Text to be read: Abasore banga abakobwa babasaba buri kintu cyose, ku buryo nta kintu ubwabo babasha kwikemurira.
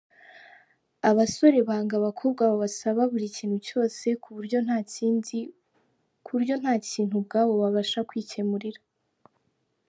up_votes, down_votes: 0, 2